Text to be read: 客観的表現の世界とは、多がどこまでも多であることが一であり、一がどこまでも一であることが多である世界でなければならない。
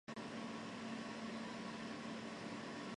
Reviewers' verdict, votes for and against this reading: rejected, 0, 2